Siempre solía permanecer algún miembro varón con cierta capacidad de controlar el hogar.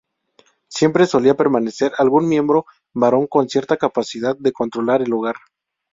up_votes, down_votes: 2, 0